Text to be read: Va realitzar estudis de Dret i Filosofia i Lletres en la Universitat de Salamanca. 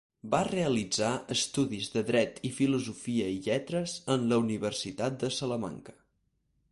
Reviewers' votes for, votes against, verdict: 4, 0, accepted